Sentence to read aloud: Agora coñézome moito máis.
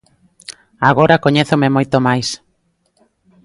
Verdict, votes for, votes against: accepted, 2, 0